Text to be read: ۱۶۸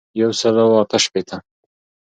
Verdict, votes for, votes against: rejected, 0, 2